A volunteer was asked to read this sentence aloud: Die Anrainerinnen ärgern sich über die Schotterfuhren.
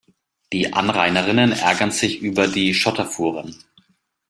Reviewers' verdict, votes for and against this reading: accepted, 2, 0